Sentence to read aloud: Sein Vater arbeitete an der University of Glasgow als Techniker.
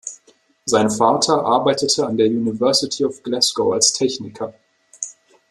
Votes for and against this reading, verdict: 2, 1, accepted